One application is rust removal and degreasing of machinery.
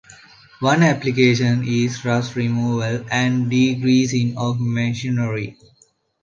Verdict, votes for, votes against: accepted, 2, 0